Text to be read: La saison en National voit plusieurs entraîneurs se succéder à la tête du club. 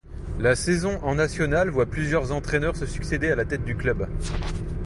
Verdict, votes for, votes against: accepted, 2, 1